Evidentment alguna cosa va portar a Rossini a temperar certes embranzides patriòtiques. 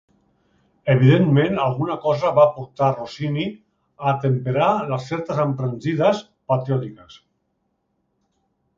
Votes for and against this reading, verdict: 1, 2, rejected